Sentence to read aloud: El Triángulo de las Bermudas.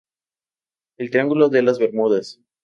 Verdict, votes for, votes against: accepted, 2, 0